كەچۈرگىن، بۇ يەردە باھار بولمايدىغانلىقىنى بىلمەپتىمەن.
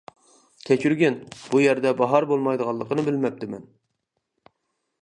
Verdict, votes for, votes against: accepted, 2, 0